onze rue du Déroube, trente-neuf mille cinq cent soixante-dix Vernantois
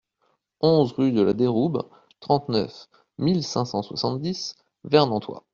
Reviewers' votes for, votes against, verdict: 0, 2, rejected